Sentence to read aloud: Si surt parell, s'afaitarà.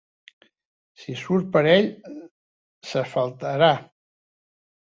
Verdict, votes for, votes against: rejected, 0, 2